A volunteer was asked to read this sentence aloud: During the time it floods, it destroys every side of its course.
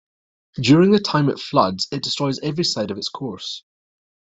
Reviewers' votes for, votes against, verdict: 2, 1, accepted